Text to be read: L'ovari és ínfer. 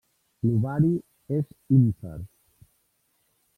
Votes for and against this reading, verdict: 2, 0, accepted